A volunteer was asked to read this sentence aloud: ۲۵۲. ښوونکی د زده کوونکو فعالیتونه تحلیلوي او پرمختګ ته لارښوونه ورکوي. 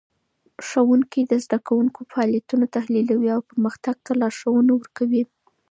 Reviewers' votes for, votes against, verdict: 0, 2, rejected